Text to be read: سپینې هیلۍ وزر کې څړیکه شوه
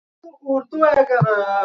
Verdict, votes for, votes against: rejected, 0, 2